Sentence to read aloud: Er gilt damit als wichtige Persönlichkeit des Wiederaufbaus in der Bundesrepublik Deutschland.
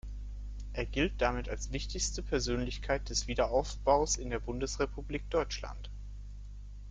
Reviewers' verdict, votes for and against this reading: rejected, 0, 2